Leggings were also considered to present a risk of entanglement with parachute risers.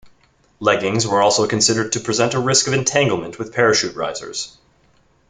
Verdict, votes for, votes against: accepted, 2, 0